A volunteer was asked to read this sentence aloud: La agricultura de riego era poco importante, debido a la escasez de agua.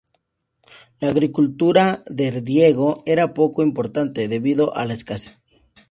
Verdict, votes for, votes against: rejected, 0, 4